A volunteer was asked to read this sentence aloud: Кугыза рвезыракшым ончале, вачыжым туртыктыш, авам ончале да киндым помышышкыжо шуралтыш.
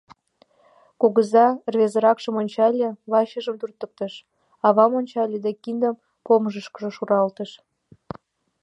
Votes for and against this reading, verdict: 2, 1, accepted